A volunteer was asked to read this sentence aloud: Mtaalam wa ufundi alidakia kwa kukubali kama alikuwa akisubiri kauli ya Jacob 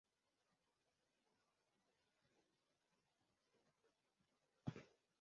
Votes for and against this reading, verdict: 0, 2, rejected